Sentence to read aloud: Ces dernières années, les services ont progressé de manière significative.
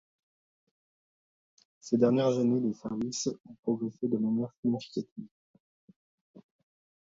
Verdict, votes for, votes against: rejected, 1, 2